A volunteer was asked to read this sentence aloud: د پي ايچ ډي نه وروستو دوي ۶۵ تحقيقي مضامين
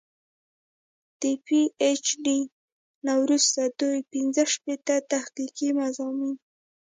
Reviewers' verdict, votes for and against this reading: rejected, 0, 2